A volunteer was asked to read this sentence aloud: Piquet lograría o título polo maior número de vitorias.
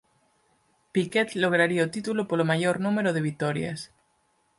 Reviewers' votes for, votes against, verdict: 4, 0, accepted